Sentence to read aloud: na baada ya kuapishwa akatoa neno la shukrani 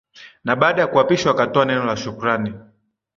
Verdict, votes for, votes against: accepted, 3, 0